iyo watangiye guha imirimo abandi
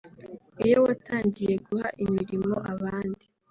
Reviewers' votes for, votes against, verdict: 3, 0, accepted